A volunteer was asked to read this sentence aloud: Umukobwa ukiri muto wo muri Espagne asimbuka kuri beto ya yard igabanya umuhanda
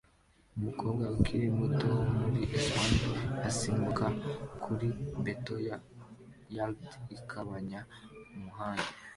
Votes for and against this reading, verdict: 2, 1, accepted